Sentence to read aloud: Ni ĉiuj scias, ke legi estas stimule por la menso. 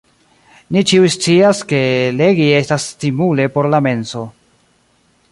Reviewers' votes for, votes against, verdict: 2, 1, accepted